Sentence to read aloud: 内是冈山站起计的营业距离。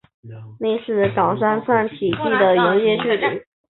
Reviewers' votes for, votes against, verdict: 2, 0, accepted